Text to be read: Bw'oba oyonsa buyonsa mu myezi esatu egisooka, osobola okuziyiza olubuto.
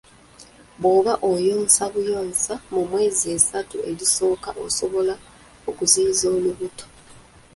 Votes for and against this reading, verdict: 1, 2, rejected